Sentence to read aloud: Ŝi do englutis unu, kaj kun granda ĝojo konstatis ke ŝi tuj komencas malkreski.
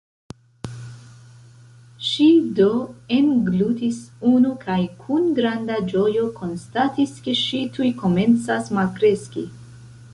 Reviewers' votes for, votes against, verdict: 1, 2, rejected